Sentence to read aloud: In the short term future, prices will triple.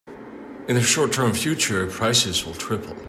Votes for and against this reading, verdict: 2, 0, accepted